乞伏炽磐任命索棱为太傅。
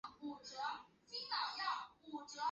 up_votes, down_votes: 1, 2